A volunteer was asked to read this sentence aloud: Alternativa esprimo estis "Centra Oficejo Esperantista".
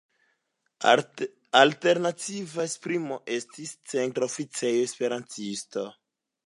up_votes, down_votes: 2, 0